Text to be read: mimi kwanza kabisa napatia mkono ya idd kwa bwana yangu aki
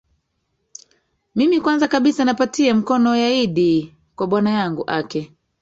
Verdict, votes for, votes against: rejected, 1, 2